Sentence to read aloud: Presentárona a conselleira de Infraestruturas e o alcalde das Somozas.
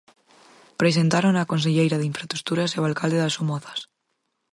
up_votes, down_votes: 4, 2